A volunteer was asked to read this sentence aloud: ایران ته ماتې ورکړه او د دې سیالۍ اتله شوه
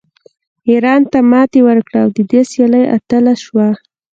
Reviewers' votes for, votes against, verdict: 2, 3, rejected